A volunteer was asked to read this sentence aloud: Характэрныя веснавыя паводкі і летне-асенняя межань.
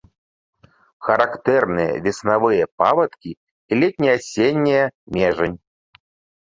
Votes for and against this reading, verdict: 1, 2, rejected